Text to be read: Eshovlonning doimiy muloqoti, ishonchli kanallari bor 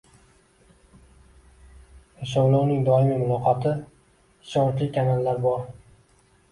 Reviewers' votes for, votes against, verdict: 1, 2, rejected